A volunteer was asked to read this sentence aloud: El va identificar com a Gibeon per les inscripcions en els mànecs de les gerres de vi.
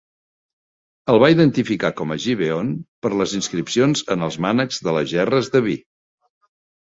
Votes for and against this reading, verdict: 3, 0, accepted